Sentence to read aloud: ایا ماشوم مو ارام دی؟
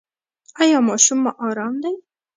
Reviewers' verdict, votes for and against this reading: accepted, 2, 0